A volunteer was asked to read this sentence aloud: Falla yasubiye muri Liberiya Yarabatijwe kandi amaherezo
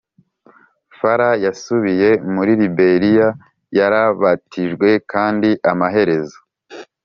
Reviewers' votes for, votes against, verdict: 2, 0, accepted